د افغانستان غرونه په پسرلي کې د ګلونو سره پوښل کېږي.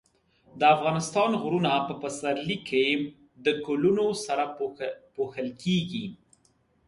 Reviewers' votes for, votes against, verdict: 2, 1, accepted